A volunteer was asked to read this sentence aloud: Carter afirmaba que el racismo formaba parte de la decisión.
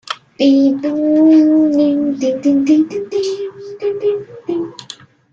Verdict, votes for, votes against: rejected, 0, 2